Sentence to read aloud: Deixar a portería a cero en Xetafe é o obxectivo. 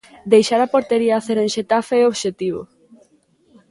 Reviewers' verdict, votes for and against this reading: accepted, 2, 1